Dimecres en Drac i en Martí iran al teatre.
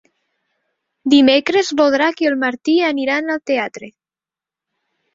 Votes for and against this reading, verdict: 0, 2, rejected